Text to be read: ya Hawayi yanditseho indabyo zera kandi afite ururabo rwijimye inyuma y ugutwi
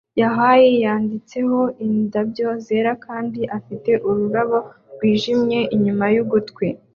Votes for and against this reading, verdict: 2, 0, accepted